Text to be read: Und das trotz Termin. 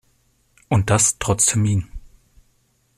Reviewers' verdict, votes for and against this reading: rejected, 0, 2